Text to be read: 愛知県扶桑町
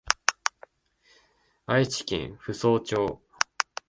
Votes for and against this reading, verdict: 2, 0, accepted